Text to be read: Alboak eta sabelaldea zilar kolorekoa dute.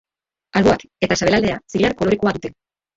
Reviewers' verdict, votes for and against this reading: rejected, 0, 2